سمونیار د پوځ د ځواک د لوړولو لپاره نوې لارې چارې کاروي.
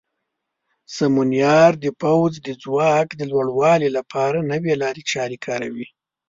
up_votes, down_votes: 1, 2